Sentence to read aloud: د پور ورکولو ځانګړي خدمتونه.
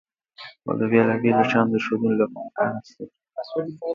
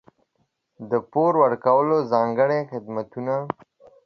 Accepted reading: second